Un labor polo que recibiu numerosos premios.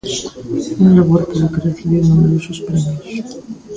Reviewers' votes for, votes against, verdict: 1, 2, rejected